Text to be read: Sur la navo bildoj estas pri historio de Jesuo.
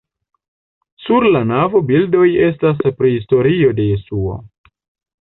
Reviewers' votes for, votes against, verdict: 2, 0, accepted